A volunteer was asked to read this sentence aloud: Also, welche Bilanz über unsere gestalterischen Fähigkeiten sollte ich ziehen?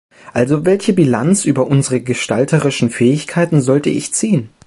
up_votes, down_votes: 2, 0